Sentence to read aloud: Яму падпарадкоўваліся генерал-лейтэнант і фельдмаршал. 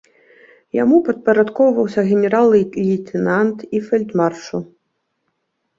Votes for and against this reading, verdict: 0, 2, rejected